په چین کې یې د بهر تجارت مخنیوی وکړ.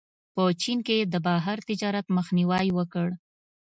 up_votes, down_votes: 2, 0